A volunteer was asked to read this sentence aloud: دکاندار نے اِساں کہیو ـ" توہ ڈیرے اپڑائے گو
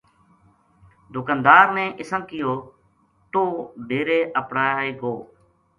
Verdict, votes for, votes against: accepted, 2, 0